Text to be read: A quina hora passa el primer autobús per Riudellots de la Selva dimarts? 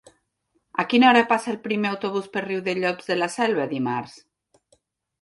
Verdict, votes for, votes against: accepted, 2, 0